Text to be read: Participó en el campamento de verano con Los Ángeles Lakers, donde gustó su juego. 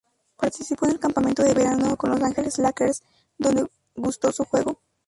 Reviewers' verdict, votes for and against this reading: rejected, 0, 2